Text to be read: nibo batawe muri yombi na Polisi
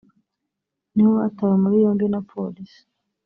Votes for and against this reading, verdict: 0, 2, rejected